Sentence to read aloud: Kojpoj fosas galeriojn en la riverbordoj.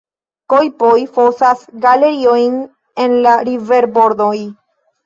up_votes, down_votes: 1, 2